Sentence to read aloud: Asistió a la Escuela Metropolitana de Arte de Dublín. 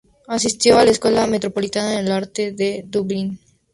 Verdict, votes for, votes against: accepted, 2, 0